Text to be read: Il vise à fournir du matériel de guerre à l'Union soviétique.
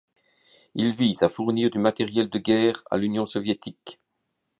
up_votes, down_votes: 2, 0